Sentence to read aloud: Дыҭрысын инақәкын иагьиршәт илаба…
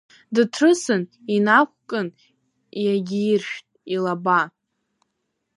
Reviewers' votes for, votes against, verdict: 1, 2, rejected